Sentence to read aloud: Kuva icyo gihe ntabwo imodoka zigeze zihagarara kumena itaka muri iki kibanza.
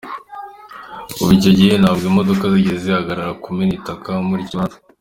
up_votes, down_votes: 2, 1